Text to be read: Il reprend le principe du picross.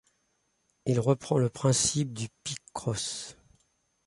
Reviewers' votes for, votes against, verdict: 2, 0, accepted